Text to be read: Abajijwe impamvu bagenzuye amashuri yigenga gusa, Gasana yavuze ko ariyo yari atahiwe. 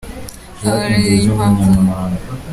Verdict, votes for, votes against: rejected, 0, 2